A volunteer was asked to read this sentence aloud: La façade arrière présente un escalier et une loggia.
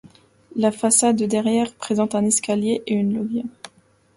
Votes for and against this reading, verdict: 0, 2, rejected